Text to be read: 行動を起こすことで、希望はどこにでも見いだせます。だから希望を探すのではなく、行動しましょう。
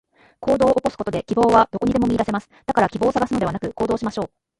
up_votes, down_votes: 0, 2